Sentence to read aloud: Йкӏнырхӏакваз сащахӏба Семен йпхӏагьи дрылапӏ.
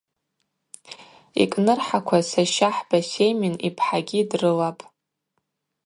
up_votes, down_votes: 0, 2